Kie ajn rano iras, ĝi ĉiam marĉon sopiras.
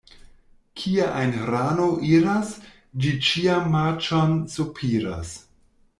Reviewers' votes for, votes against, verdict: 1, 2, rejected